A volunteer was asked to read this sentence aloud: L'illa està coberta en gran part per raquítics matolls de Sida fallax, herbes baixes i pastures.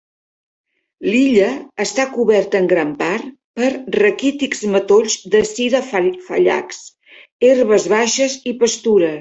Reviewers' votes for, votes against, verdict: 1, 3, rejected